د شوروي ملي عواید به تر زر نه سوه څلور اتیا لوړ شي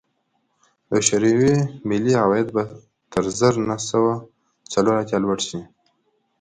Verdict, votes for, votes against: accepted, 2, 0